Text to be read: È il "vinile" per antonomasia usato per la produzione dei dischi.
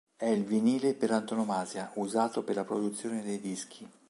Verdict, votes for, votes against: accepted, 2, 0